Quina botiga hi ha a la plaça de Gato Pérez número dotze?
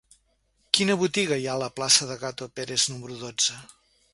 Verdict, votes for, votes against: accepted, 2, 0